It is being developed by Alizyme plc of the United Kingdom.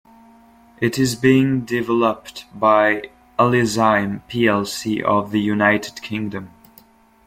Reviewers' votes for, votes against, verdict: 2, 0, accepted